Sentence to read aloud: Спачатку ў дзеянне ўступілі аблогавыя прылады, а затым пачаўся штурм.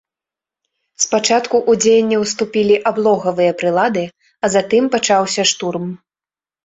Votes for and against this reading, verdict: 2, 0, accepted